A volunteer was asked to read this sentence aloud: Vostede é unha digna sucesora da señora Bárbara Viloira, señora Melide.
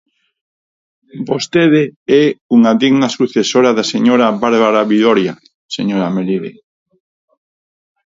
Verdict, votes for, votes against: accepted, 4, 2